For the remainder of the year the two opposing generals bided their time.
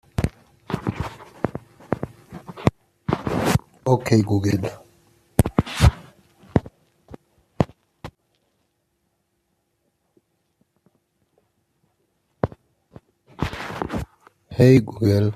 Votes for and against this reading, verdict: 0, 2, rejected